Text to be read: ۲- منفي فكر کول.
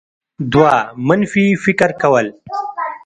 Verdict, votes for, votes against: rejected, 0, 2